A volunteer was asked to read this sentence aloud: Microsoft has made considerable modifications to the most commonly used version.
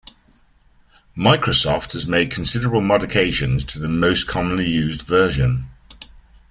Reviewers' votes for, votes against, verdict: 2, 3, rejected